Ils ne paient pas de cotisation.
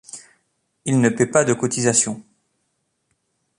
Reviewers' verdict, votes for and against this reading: accepted, 2, 0